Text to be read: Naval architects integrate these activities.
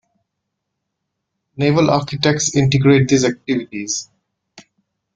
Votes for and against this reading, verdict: 2, 1, accepted